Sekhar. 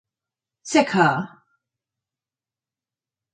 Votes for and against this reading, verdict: 6, 0, accepted